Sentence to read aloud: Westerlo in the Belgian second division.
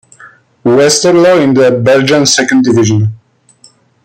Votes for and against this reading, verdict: 2, 0, accepted